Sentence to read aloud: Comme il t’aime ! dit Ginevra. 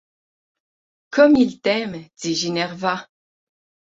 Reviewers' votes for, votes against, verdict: 9, 3, accepted